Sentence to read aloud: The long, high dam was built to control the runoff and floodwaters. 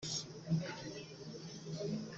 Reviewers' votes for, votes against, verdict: 0, 2, rejected